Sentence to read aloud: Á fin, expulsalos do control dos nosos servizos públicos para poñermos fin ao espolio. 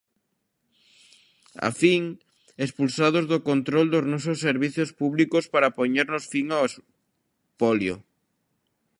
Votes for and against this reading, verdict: 0, 2, rejected